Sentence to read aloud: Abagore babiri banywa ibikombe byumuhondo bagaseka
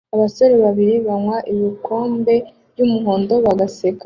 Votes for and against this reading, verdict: 0, 2, rejected